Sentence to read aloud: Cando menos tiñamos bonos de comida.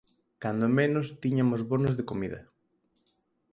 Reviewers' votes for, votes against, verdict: 2, 4, rejected